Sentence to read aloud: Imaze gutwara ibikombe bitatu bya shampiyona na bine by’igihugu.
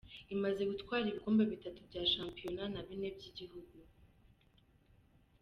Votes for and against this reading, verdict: 2, 1, accepted